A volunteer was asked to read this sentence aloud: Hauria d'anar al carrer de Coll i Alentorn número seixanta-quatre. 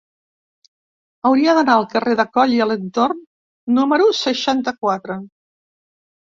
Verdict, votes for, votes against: accepted, 2, 0